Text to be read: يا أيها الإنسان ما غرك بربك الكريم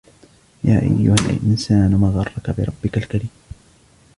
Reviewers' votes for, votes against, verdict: 1, 2, rejected